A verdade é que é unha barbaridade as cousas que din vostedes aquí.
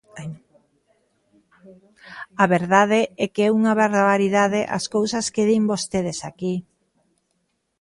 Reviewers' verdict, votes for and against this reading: rejected, 1, 2